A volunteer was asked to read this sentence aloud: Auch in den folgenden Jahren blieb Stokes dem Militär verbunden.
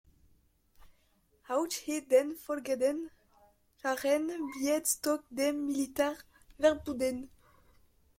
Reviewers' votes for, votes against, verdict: 0, 2, rejected